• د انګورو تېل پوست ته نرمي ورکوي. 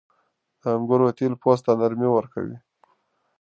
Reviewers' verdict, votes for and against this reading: accepted, 2, 0